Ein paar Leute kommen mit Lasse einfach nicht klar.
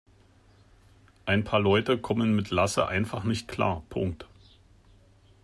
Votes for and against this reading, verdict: 0, 2, rejected